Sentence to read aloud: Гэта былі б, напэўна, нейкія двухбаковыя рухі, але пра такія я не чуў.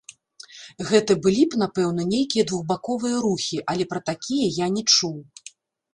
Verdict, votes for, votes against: rejected, 1, 2